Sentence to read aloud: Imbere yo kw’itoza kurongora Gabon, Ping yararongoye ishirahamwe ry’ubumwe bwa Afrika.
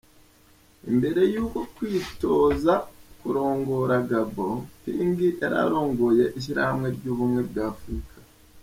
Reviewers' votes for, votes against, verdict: 1, 2, rejected